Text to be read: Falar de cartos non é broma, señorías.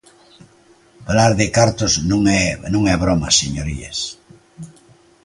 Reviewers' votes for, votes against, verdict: 0, 2, rejected